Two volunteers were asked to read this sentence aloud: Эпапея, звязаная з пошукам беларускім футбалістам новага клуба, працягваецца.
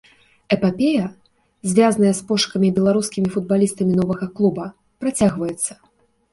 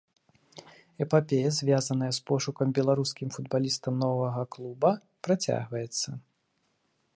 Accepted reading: second